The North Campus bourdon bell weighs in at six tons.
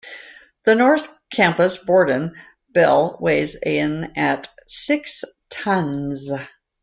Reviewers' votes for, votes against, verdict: 2, 0, accepted